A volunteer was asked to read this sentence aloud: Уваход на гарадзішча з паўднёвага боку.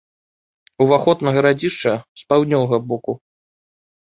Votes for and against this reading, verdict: 2, 0, accepted